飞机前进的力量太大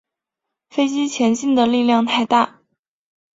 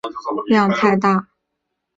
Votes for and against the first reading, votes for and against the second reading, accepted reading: 4, 0, 0, 3, first